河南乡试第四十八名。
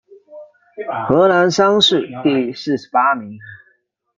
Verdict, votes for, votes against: rejected, 1, 2